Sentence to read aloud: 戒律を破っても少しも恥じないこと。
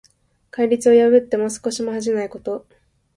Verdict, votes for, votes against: accepted, 2, 0